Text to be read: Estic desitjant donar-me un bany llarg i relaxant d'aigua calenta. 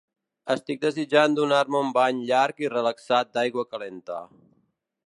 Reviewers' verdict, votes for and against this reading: rejected, 0, 2